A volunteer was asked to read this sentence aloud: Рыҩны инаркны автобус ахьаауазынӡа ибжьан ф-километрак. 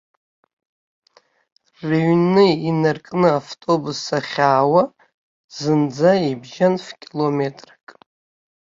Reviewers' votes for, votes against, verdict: 3, 2, accepted